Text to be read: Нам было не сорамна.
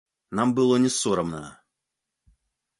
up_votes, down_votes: 2, 0